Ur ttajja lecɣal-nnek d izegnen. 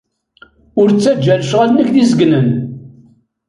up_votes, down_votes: 0, 2